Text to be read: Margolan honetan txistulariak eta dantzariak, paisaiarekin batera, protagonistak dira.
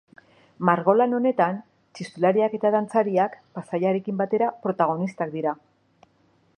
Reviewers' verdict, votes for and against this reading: accepted, 2, 0